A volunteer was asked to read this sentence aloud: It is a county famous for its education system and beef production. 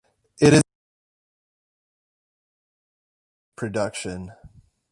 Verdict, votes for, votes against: rejected, 0, 2